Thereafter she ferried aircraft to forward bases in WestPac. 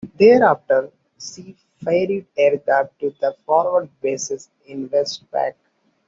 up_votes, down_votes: 2, 0